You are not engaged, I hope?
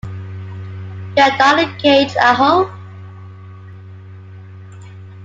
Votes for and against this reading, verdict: 1, 2, rejected